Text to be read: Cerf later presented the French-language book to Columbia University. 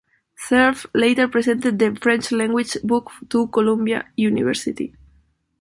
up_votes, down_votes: 1, 2